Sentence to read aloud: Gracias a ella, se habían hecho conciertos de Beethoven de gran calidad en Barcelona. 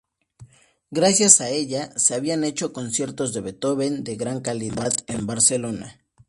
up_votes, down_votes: 2, 0